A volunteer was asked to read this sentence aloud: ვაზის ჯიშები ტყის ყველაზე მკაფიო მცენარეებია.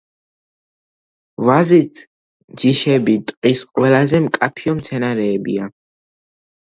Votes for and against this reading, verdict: 1, 2, rejected